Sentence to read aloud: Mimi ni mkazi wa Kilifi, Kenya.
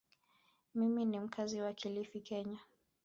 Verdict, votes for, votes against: accepted, 3, 0